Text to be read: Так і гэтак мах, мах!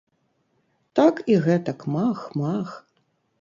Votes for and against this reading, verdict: 3, 0, accepted